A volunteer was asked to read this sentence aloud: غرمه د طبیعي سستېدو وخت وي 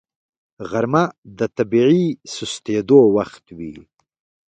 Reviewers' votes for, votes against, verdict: 2, 1, accepted